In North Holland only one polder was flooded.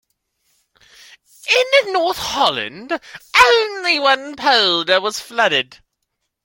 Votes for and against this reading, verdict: 2, 0, accepted